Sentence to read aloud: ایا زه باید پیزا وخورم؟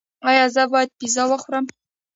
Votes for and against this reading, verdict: 0, 2, rejected